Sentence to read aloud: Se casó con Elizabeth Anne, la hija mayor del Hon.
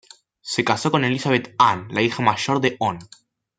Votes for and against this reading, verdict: 2, 0, accepted